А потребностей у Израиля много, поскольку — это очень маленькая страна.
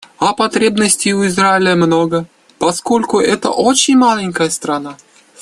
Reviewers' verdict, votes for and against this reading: accepted, 2, 0